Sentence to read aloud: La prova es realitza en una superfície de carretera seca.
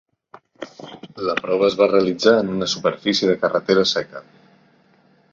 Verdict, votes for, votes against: rejected, 0, 2